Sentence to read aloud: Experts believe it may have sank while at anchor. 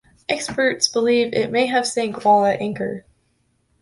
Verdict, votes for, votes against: accepted, 2, 0